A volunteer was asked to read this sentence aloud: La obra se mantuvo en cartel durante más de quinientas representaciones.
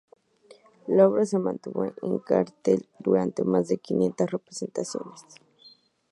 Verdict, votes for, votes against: rejected, 0, 2